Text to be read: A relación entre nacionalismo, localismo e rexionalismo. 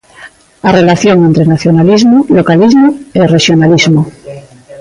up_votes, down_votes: 2, 0